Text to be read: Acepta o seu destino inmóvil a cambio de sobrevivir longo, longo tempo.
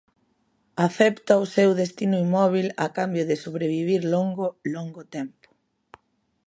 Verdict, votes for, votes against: accepted, 2, 0